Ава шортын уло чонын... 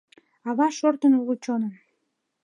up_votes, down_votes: 2, 0